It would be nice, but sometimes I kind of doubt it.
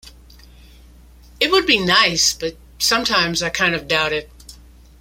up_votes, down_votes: 2, 0